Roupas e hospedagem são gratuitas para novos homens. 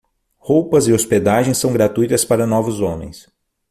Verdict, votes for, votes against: accepted, 6, 0